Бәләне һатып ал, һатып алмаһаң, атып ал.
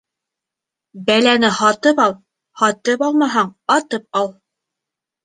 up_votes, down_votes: 2, 0